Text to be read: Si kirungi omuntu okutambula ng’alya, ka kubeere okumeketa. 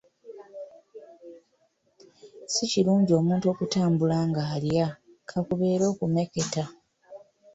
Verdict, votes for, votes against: rejected, 0, 2